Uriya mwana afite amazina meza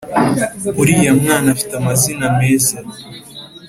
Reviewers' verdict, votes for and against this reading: accepted, 2, 0